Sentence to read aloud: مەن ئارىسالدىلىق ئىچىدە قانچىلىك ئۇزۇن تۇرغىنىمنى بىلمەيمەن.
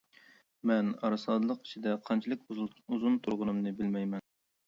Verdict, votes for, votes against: accepted, 2, 0